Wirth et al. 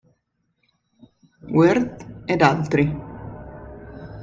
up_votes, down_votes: 1, 2